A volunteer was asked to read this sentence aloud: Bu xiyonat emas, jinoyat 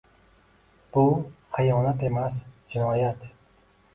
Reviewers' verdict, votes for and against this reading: rejected, 1, 2